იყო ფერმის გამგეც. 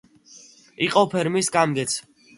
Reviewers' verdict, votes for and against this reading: accepted, 2, 0